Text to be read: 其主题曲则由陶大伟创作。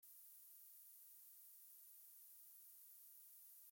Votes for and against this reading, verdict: 0, 2, rejected